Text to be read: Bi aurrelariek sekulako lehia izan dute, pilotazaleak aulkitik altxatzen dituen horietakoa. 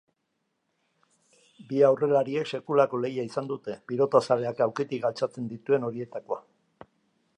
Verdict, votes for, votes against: accepted, 2, 0